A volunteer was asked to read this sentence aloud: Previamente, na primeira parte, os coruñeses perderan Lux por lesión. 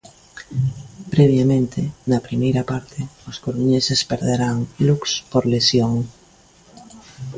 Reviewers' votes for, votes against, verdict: 2, 1, accepted